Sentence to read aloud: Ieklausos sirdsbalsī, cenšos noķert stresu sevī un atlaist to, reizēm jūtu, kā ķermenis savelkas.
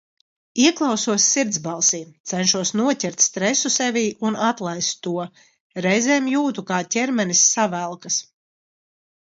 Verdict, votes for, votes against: accepted, 2, 0